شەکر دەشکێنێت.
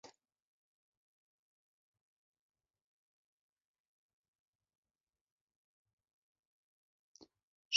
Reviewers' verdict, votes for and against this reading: rejected, 0, 2